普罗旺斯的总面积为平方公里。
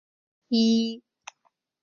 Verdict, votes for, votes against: rejected, 0, 4